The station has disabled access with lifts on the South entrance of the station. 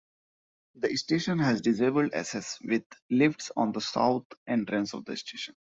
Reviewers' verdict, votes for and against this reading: rejected, 1, 2